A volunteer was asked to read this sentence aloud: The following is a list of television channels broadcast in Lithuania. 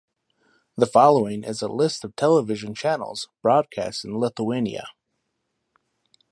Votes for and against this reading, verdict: 2, 0, accepted